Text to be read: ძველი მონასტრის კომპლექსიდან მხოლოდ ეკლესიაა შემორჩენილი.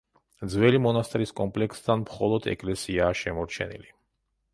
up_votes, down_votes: 1, 2